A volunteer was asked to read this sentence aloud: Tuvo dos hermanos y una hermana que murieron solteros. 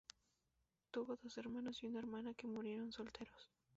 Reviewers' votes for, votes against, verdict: 0, 2, rejected